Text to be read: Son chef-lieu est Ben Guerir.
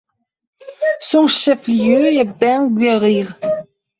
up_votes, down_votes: 1, 2